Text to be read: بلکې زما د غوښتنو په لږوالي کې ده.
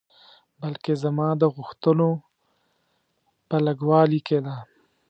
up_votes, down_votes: 1, 2